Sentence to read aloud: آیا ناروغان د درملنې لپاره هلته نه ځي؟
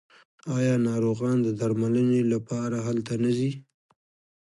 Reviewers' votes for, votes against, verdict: 1, 2, rejected